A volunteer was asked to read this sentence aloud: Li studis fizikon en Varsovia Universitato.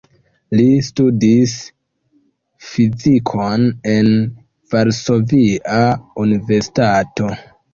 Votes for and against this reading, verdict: 0, 2, rejected